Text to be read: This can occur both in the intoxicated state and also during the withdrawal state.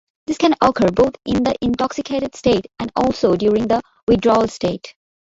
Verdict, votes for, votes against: rejected, 1, 2